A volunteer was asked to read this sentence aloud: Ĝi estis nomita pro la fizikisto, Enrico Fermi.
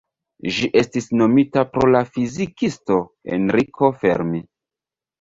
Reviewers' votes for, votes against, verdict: 2, 0, accepted